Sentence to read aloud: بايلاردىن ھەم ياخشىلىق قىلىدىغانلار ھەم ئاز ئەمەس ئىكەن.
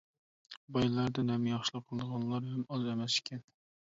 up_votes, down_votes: 0, 2